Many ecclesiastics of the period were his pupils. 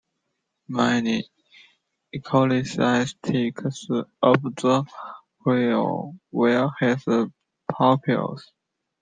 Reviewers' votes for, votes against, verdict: 0, 2, rejected